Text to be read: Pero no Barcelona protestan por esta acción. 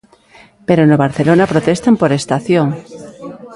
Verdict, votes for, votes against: rejected, 1, 2